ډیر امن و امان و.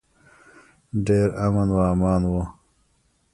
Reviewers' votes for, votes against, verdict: 1, 2, rejected